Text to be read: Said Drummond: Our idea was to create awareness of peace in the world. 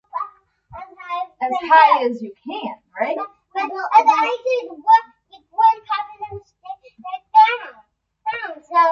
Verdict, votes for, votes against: rejected, 0, 2